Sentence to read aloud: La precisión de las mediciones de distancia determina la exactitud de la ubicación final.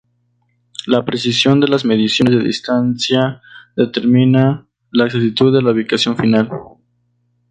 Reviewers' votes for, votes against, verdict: 0, 2, rejected